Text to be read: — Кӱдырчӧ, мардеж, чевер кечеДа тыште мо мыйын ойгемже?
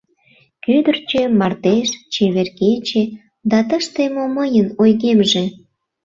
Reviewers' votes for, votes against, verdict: 0, 2, rejected